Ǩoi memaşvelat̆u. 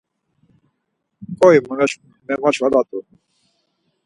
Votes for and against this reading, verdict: 2, 4, rejected